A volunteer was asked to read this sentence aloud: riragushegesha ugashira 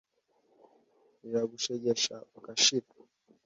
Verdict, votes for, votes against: accepted, 2, 0